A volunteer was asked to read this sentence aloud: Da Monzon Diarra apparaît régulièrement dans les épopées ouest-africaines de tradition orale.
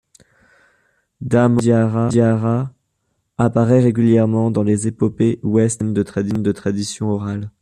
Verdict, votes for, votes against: rejected, 0, 2